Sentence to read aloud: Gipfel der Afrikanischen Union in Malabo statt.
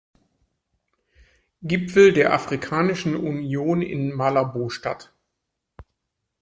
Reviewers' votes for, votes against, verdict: 2, 0, accepted